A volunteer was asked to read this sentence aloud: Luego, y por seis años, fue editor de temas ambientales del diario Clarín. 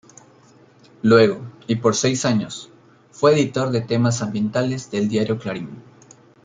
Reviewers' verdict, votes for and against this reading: accepted, 2, 1